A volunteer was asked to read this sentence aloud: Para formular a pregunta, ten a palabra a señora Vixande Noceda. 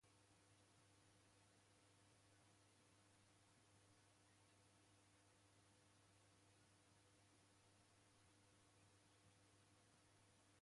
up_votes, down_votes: 0, 2